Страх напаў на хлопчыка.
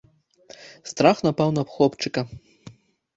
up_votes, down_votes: 2, 0